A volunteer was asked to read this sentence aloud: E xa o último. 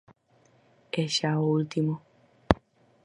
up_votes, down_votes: 4, 2